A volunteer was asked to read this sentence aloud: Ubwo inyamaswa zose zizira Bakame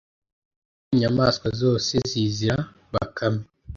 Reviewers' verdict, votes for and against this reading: rejected, 0, 2